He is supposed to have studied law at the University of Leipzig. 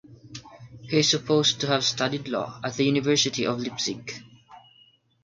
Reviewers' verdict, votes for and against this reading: rejected, 3, 3